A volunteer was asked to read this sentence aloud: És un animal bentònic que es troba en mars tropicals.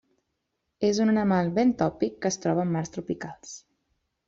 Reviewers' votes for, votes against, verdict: 0, 2, rejected